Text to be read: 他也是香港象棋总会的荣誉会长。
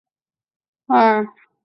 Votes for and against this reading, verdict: 0, 2, rejected